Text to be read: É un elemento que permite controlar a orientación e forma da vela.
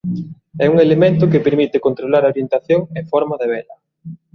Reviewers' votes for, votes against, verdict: 2, 1, accepted